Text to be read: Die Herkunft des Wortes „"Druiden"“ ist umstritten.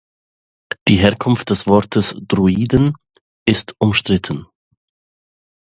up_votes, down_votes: 2, 0